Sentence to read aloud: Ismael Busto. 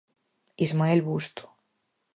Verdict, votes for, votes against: accepted, 4, 0